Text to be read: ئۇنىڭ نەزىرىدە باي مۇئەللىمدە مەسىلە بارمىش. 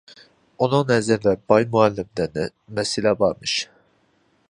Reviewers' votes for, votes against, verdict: 1, 2, rejected